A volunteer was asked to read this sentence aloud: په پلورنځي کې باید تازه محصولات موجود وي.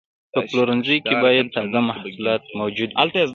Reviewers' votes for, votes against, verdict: 3, 1, accepted